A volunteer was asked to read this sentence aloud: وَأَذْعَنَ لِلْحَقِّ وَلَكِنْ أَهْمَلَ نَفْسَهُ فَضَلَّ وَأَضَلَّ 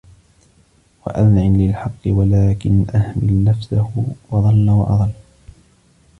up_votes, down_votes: 1, 2